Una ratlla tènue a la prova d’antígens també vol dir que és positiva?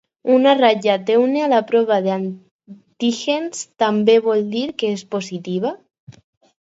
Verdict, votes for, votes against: accepted, 4, 2